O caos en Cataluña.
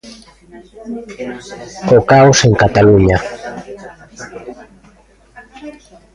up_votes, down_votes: 0, 2